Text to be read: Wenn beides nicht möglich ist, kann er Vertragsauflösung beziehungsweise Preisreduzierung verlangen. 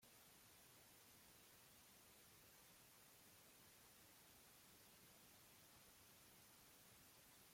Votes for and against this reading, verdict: 0, 2, rejected